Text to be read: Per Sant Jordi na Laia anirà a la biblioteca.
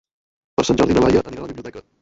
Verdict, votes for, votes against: rejected, 0, 2